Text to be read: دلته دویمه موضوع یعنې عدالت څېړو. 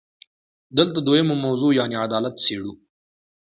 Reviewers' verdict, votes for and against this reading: rejected, 1, 2